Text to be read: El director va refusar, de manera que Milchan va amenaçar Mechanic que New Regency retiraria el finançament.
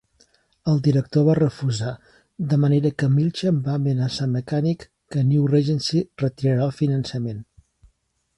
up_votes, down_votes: 0, 2